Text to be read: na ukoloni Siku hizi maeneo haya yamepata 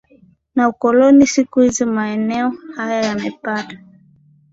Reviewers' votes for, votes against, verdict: 2, 0, accepted